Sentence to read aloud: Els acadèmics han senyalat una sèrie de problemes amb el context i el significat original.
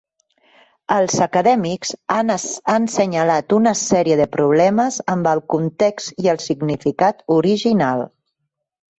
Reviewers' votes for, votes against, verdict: 0, 2, rejected